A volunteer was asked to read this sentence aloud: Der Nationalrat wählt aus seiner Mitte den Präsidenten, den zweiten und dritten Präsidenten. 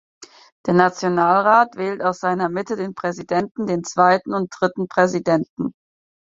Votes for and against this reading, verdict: 4, 0, accepted